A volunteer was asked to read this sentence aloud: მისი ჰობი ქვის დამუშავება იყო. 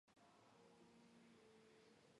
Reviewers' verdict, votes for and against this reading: rejected, 1, 2